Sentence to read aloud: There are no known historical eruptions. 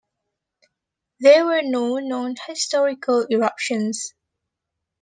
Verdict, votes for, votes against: rejected, 1, 2